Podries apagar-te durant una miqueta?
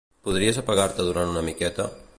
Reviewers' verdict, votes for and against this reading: accepted, 2, 0